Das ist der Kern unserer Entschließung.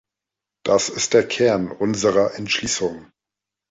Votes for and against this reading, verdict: 3, 0, accepted